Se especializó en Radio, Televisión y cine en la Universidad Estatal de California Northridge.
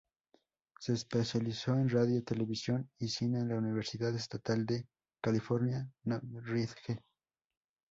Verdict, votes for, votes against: rejected, 0, 2